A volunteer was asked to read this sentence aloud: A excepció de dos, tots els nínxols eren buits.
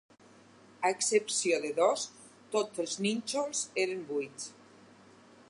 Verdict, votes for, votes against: accepted, 4, 0